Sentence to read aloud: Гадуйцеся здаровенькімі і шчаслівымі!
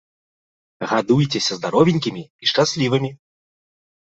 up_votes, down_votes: 2, 0